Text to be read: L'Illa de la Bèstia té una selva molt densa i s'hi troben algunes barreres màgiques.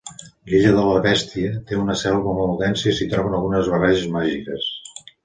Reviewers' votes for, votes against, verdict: 2, 3, rejected